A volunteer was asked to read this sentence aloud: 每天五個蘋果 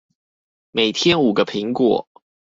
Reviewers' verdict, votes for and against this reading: rejected, 2, 2